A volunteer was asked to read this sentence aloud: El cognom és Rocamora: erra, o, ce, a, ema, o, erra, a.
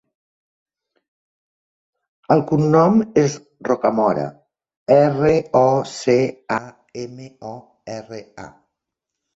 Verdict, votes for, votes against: rejected, 0, 2